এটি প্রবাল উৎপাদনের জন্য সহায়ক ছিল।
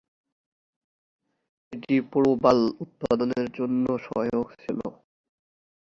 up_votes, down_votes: 1, 2